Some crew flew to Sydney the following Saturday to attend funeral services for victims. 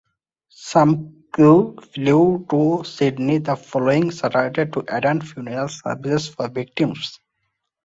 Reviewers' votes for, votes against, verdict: 2, 1, accepted